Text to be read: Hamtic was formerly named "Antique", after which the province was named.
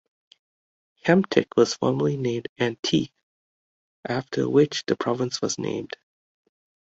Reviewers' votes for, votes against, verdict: 2, 0, accepted